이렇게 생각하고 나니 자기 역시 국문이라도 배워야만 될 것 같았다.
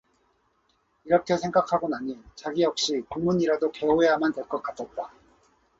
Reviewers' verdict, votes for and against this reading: rejected, 2, 4